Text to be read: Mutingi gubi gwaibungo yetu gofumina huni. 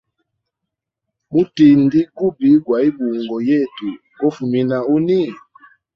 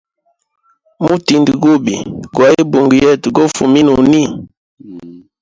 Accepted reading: first